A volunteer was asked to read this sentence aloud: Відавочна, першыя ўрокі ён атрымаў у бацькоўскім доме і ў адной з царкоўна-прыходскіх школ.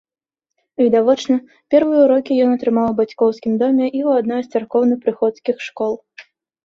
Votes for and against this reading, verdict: 1, 2, rejected